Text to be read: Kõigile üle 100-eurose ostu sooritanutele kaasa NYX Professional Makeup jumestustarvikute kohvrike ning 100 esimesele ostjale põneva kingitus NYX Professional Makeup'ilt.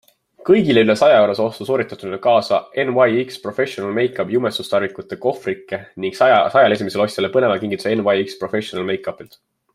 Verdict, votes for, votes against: rejected, 0, 2